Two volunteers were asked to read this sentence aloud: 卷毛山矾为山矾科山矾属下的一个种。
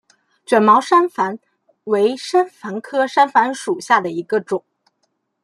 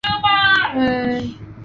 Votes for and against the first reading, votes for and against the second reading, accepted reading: 2, 0, 0, 3, first